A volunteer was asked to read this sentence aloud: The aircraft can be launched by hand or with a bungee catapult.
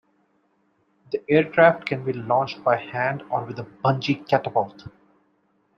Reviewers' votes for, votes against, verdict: 2, 0, accepted